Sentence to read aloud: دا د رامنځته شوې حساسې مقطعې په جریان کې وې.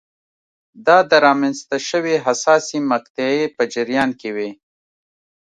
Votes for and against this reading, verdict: 2, 0, accepted